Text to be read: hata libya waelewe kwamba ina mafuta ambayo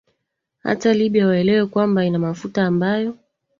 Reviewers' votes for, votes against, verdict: 2, 1, accepted